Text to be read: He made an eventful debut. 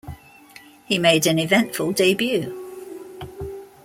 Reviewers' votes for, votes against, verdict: 2, 0, accepted